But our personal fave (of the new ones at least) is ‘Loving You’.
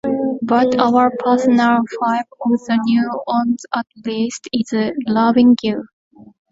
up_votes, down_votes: 1, 2